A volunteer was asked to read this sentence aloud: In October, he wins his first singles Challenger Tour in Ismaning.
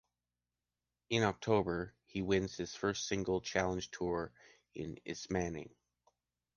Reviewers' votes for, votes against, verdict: 2, 0, accepted